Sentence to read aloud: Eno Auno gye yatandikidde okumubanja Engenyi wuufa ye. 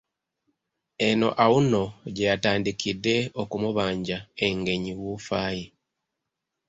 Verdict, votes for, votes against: accepted, 2, 0